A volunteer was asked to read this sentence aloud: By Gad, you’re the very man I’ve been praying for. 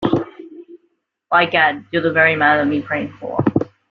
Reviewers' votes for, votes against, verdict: 2, 0, accepted